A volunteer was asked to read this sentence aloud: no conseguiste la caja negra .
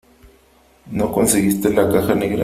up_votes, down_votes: 2, 1